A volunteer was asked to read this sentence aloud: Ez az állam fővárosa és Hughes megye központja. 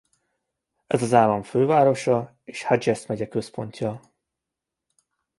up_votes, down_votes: 2, 1